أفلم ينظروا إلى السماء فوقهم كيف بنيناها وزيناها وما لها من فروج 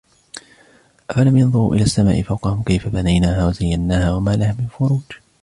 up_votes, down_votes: 2, 0